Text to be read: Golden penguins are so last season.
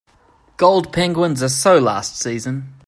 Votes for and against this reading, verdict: 2, 4, rejected